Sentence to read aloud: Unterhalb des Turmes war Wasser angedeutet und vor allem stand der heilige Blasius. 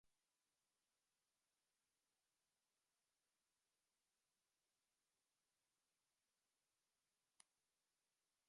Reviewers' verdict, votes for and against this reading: rejected, 0, 2